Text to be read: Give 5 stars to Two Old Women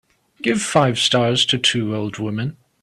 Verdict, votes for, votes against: rejected, 0, 2